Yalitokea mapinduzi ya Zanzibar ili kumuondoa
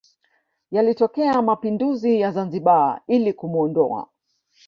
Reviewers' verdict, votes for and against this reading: rejected, 0, 2